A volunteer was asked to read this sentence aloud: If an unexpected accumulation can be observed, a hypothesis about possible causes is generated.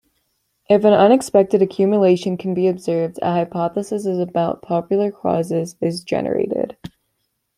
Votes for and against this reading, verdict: 1, 2, rejected